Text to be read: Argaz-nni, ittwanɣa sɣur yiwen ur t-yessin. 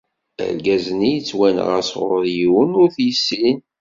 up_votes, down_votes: 2, 0